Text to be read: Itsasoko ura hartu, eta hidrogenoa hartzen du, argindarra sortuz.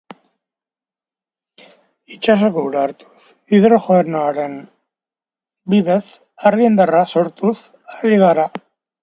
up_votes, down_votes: 1, 2